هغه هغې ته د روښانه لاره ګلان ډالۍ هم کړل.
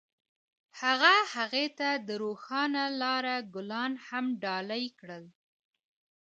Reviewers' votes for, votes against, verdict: 2, 0, accepted